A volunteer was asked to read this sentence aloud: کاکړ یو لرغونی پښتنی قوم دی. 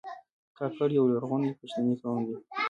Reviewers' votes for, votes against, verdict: 3, 2, accepted